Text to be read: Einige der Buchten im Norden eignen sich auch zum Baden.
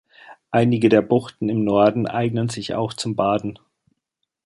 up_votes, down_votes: 2, 0